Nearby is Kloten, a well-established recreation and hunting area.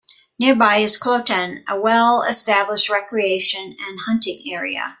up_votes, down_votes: 2, 1